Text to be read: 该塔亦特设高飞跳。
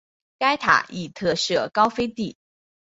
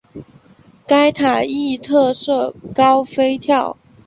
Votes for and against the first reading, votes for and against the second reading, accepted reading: 0, 4, 5, 0, second